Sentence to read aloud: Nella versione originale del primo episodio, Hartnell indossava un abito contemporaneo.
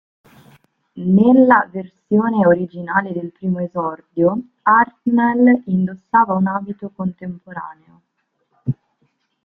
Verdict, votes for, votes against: rejected, 0, 2